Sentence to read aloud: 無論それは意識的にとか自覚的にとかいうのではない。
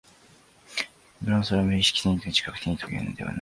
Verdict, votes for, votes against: rejected, 1, 2